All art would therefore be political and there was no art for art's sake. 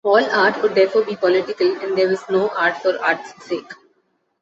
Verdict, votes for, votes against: accepted, 2, 0